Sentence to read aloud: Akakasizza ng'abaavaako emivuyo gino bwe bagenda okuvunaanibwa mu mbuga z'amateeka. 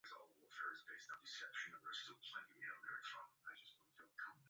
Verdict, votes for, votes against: rejected, 0, 3